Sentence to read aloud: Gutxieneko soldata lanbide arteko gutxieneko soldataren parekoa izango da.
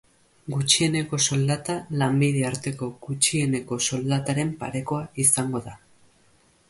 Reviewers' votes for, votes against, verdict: 2, 0, accepted